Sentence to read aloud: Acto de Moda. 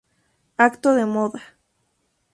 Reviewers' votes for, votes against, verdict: 2, 0, accepted